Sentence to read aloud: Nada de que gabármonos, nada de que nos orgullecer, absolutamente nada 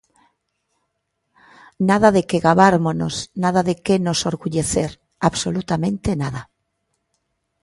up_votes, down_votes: 2, 0